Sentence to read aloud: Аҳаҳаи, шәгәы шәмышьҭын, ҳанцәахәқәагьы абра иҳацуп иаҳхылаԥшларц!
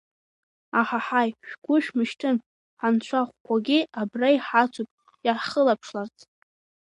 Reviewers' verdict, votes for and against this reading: accepted, 2, 1